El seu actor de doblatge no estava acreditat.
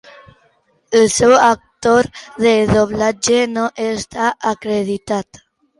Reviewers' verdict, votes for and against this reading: rejected, 0, 3